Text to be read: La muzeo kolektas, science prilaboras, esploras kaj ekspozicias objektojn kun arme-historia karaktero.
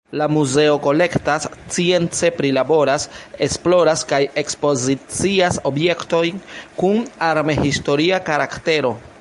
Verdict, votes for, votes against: rejected, 0, 2